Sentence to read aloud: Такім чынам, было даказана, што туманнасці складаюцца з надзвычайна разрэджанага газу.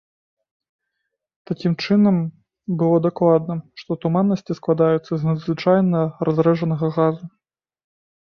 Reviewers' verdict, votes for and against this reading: rejected, 1, 2